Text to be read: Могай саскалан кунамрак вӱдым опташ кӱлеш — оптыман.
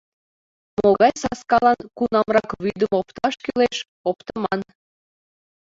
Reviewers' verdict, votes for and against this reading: accepted, 2, 0